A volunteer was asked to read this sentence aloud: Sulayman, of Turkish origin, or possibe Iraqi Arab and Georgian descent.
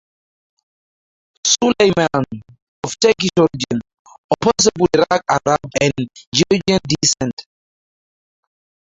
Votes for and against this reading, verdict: 0, 4, rejected